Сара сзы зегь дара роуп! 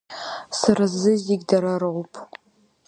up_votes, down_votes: 1, 2